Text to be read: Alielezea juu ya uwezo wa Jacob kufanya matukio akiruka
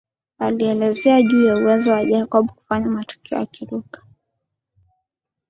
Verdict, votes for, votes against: accepted, 2, 1